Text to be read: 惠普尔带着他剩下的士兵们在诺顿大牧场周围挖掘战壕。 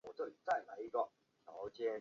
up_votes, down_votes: 0, 3